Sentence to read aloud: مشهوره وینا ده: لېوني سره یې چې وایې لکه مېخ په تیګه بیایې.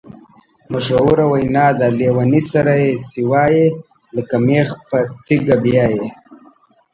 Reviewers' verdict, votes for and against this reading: accepted, 2, 1